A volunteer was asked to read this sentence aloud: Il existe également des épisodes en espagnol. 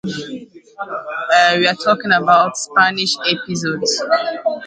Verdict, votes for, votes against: rejected, 0, 2